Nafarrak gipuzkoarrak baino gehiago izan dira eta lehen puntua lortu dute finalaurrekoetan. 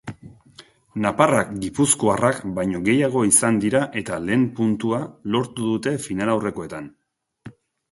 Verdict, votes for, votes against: rejected, 0, 2